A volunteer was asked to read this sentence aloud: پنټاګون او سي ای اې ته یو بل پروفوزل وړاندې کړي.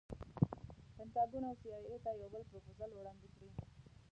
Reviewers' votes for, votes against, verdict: 0, 2, rejected